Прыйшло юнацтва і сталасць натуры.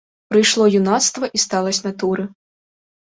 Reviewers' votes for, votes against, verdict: 2, 0, accepted